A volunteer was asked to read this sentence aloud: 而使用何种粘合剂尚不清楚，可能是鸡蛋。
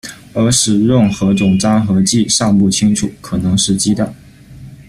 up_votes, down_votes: 1, 2